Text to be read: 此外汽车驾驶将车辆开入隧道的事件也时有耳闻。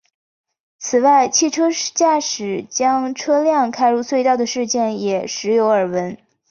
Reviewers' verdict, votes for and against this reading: accepted, 4, 1